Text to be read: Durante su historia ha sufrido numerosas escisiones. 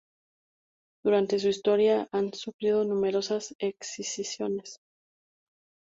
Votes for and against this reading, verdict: 0, 2, rejected